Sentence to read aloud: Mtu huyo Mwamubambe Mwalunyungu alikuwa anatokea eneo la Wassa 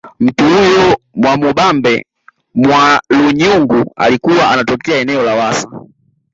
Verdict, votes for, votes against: rejected, 0, 2